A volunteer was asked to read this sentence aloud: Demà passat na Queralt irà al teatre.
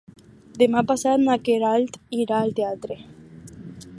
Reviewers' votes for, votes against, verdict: 4, 0, accepted